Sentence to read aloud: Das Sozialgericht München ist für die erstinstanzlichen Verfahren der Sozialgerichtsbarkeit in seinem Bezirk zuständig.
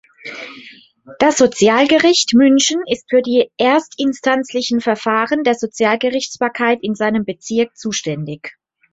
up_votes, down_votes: 3, 0